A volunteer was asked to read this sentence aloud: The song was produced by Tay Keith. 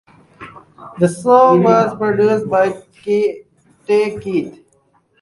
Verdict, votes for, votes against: rejected, 0, 4